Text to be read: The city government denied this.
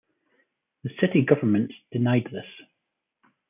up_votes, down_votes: 2, 0